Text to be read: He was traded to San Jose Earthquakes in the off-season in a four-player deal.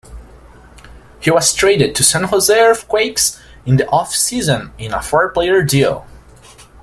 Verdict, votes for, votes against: accepted, 2, 0